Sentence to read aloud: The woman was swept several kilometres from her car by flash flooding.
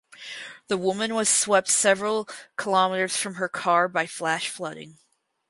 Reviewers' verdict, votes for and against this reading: accepted, 4, 2